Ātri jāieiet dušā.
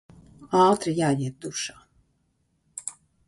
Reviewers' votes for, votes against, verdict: 1, 2, rejected